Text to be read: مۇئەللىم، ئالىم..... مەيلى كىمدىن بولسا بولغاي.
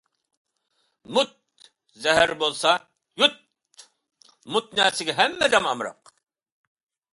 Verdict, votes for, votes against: rejected, 0, 2